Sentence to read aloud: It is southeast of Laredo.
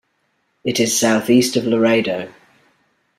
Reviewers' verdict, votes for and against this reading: accepted, 2, 0